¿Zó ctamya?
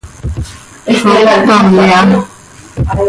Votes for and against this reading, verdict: 0, 2, rejected